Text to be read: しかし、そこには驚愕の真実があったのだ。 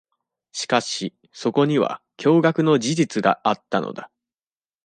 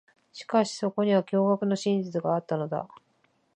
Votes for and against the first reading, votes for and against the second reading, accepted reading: 1, 2, 4, 0, second